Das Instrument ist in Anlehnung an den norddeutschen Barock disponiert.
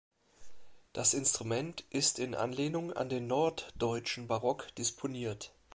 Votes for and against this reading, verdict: 2, 1, accepted